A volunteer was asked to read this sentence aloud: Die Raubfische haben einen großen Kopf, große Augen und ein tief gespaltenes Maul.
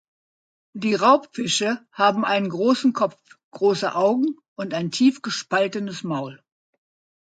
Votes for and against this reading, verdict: 2, 0, accepted